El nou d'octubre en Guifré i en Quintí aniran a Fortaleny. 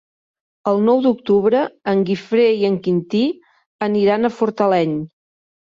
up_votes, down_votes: 3, 0